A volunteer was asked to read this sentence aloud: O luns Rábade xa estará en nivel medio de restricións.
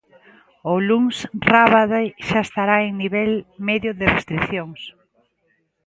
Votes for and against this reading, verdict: 0, 2, rejected